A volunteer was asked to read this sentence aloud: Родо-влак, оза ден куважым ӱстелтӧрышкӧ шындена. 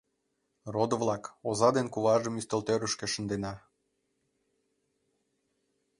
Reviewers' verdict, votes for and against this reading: accepted, 3, 0